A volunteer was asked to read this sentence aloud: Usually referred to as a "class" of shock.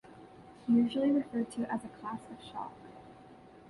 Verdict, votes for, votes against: accepted, 2, 0